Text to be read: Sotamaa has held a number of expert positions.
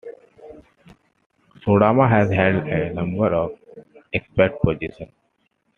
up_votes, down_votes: 2, 0